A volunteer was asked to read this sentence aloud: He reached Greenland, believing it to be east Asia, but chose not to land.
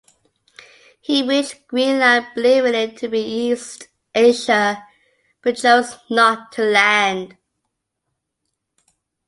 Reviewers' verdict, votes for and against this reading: accepted, 2, 1